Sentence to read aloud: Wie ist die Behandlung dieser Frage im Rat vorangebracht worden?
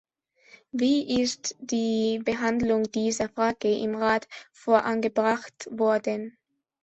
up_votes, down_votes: 2, 1